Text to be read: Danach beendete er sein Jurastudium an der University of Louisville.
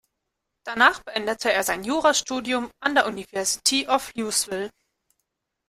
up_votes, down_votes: 0, 2